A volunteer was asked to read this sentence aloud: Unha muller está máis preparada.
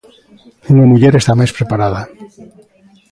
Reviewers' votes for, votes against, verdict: 2, 0, accepted